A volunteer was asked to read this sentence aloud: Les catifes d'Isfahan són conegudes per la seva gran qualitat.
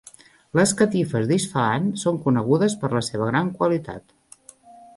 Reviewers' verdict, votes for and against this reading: accepted, 2, 0